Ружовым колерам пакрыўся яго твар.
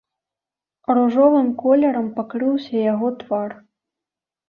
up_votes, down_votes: 2, 0